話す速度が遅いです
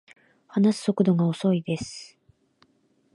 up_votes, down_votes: 2, 1